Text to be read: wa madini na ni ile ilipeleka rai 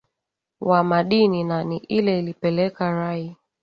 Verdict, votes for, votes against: accepted, 5, 2